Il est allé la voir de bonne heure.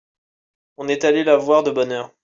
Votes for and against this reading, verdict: 1, 2, rejected